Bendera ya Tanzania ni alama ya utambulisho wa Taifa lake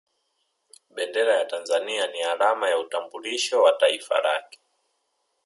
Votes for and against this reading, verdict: 0, 2, rejected